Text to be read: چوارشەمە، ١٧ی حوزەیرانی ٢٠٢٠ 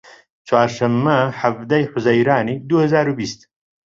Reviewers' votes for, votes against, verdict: 0, 2, rejected